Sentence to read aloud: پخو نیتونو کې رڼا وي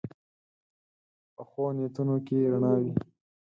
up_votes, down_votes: 4, 0